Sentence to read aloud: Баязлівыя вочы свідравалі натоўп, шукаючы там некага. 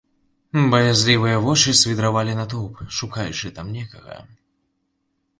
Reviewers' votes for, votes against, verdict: 2, 0, accepted